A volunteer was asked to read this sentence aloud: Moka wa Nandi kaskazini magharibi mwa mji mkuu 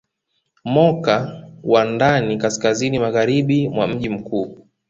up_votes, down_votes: 0, 2